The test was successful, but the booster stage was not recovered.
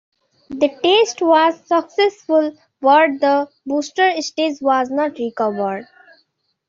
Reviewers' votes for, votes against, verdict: 0, 2, rejected